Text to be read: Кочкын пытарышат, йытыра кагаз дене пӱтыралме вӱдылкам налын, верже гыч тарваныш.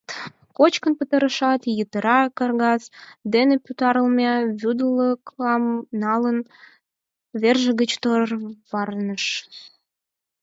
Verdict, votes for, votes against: rejected, 2, 4